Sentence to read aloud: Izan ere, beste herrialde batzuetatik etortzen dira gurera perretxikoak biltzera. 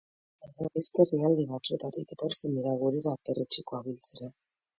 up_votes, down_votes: 2, 0